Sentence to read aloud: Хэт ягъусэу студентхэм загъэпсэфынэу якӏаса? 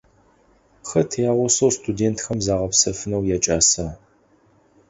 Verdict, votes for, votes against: accepted, 4, 0